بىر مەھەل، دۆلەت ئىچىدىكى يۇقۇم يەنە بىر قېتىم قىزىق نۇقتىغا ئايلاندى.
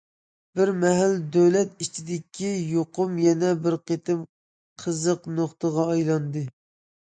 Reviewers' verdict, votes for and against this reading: accepted, 2, 0